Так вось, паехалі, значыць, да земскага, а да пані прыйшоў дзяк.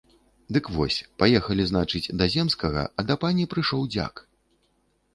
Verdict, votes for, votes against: rejected, 0, 2